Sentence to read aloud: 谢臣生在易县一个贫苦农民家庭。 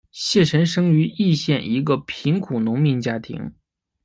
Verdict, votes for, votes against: rejected, 0, 2